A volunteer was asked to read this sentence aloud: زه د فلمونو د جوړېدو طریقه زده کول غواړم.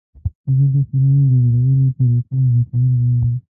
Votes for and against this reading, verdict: 0, 3, rejected